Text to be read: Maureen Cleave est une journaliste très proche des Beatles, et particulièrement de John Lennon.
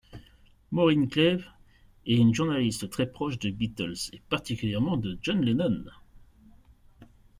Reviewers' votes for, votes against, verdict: 2, 0, accepted